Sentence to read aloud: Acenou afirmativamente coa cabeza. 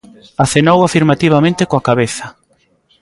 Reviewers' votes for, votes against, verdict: 2, 0, accepted